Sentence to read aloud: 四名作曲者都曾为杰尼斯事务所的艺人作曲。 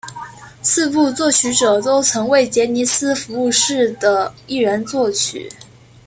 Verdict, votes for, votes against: rejected, 0, 2